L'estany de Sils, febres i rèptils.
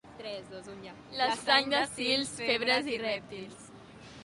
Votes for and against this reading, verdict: 1, 2, rejected